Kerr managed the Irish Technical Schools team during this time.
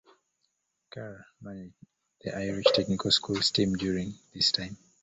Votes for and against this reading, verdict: 0, 2, rejected